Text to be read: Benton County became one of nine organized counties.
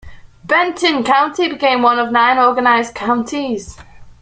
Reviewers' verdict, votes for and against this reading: accepted, 2, 0